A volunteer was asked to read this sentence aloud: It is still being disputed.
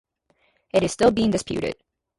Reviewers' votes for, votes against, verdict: 2, 0, accepted